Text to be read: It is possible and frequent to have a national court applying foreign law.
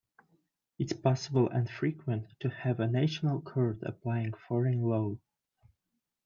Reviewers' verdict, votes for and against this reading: accepted, 2, 0